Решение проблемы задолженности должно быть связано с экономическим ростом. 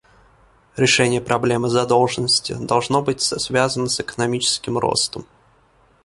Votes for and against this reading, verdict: 1, 2, rejected